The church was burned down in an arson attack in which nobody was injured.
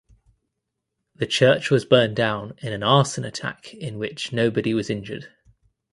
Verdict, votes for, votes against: accepted, 2, 0